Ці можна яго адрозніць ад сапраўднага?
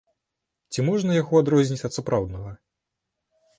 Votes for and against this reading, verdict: 2, 0, accepted